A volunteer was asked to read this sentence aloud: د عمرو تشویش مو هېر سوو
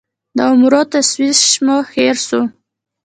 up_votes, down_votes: 2, 1